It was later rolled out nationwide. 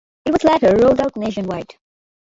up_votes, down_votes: 0, 2